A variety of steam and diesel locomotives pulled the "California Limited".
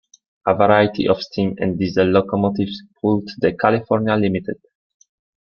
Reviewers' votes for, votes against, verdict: 1, 2, rejected